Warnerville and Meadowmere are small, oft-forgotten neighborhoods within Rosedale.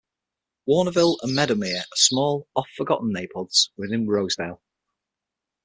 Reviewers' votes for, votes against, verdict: 6, 0, accepted